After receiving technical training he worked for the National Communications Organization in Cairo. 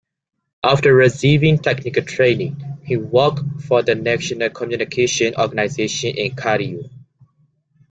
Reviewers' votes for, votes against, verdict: 0, 2, rejected